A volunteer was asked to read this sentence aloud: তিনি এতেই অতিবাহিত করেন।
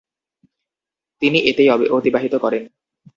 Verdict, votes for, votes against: rejected, 0, 2